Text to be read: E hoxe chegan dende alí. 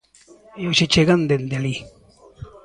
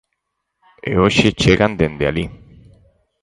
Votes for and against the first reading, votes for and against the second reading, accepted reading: 1, 2, 4, 0, second